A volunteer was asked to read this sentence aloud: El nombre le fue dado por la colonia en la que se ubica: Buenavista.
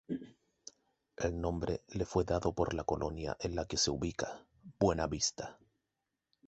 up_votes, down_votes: 2, 0